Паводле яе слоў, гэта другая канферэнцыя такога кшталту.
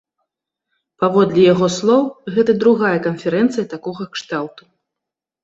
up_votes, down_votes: 2, 1